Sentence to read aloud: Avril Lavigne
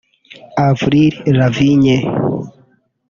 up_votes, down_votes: 0, 2